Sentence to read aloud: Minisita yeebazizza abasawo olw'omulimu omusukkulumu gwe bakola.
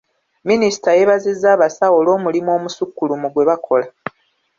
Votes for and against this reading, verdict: 2, 0, accepted